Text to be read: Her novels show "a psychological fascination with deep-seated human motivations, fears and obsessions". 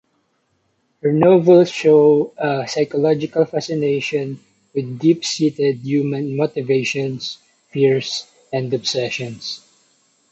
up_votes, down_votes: 0, 2